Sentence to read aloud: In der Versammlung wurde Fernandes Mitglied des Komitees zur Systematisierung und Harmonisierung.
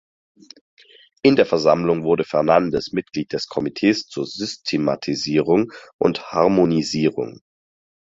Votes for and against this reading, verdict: 4, 0, accepted